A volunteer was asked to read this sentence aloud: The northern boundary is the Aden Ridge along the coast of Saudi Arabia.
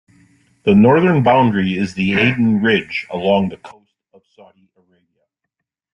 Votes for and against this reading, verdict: 0, 2, rejected